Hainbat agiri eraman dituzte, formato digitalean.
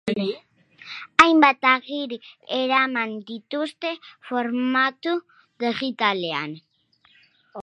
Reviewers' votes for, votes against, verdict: 0, 2, rejected